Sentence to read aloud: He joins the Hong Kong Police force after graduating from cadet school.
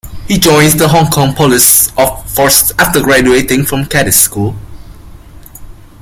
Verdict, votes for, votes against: rejected, 0, 2